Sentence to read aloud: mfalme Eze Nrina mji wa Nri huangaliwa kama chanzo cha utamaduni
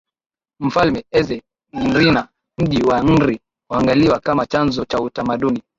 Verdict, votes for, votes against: rejected, 0, 2